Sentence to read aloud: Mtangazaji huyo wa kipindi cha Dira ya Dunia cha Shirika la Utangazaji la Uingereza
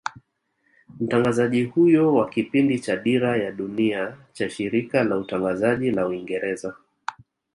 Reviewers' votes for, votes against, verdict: 1, 2, rejected